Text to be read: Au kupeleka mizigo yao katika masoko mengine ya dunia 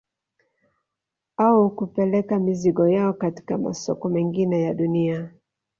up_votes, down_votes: 2, 0